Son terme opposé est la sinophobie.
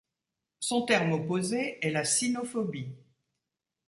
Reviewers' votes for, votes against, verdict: 2, 0, accepted